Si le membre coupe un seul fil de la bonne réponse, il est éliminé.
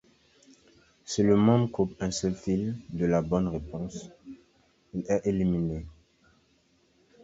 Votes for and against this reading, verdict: 0, 2, rejected